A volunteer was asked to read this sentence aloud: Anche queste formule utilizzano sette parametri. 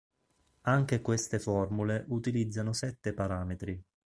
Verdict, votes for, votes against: accepted, 2, 0